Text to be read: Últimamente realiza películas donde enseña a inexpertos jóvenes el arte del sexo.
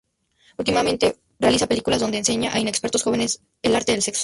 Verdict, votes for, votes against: accepted, 4, 0